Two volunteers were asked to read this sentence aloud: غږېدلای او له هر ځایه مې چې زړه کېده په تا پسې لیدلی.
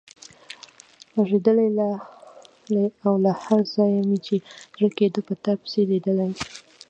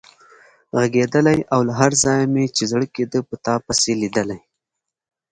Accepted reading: second